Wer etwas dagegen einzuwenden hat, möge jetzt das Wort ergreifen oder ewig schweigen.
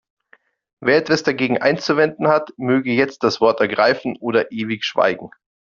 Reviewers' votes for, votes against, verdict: 2, 0, accepted